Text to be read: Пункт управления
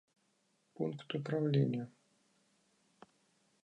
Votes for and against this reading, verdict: 1, 2, rejected